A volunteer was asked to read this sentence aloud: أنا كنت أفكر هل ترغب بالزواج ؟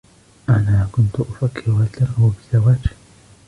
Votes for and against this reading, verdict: 2, 3, rejected